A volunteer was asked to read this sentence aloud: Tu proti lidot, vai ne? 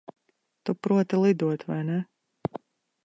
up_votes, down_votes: 2, 0